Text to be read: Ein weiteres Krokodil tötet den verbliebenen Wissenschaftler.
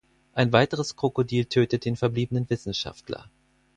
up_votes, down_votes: 4, 0